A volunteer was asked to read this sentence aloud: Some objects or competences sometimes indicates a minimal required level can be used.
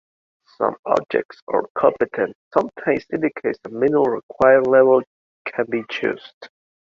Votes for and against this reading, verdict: 0, 2, rejected